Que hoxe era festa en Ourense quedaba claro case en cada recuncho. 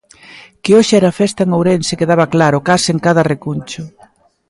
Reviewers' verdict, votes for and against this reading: accepted, 3, 0